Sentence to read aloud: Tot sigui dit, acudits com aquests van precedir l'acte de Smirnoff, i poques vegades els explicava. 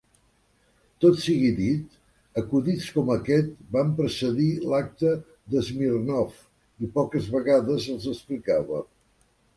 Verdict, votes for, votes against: rejected, 1, 2